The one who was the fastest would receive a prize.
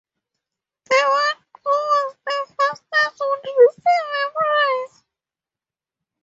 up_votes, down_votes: 2, 0